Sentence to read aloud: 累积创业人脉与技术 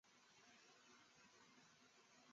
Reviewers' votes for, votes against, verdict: 0, 3, rejected